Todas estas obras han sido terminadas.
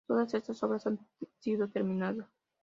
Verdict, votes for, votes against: accepted, 2, 0